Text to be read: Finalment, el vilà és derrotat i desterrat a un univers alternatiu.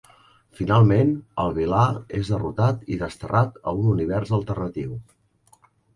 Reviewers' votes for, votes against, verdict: 3, 0, accepted